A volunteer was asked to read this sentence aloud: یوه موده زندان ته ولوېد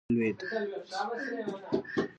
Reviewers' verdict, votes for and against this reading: rejected, 0, 2